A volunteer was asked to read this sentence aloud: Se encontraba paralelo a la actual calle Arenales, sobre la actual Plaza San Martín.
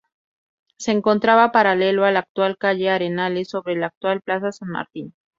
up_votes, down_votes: 2, 0